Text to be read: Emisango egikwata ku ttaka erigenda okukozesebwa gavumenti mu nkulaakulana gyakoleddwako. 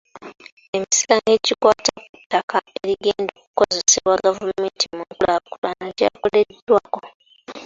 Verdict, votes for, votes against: rejected, 1, 3